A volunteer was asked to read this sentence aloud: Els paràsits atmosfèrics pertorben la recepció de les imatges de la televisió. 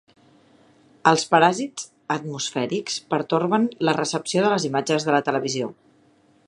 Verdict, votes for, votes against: accepted, 3, 0